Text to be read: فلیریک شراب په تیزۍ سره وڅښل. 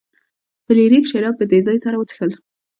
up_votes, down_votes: 2, 0